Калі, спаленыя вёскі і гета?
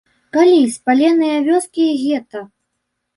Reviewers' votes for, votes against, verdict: 1, 2, rejected